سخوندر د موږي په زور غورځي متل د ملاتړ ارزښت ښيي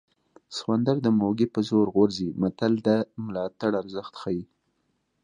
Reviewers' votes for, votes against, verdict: 2, 0, accepted